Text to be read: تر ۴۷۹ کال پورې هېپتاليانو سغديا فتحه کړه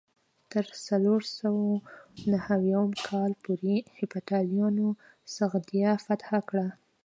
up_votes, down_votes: 0, 2